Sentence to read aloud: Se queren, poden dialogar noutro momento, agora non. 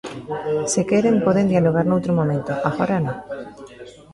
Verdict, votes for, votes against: rejected, 1, 2